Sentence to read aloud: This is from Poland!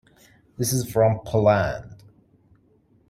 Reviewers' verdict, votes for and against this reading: rejected, 1, 2